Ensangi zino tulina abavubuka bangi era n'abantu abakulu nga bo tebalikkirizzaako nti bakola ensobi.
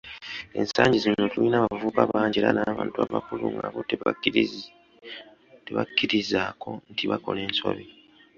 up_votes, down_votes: 0, 2